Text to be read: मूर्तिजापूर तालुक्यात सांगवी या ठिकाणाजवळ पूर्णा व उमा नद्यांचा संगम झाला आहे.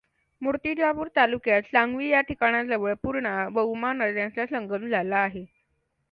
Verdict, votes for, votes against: accepted, 2, 0